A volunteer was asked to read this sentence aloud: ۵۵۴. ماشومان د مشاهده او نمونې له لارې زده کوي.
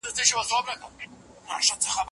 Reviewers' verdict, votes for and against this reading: rejected, 0, 2